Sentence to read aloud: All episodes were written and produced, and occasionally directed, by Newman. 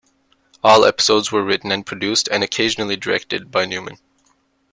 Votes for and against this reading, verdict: 2, 0, accepted